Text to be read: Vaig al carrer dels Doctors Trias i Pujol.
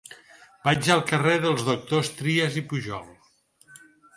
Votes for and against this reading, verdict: 4, 0, accepted